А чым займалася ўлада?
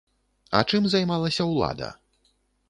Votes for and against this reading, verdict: 2, 0, accepted